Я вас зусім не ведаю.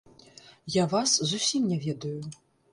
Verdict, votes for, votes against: rejected, 1, 2